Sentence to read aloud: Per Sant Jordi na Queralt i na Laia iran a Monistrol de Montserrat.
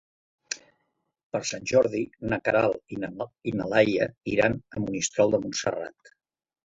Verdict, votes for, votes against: rejected, 1, 2